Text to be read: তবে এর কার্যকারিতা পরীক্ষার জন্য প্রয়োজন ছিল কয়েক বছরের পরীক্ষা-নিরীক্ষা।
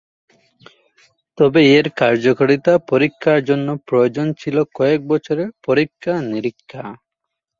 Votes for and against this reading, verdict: 2, 1, accepted